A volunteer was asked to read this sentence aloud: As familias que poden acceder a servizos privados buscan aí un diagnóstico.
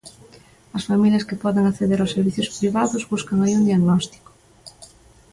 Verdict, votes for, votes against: rejected, 1, 2